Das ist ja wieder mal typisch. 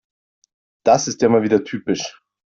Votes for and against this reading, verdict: 0, 2, rejected